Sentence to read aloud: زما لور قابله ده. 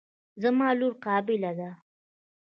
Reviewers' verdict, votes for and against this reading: rejected, 1, 3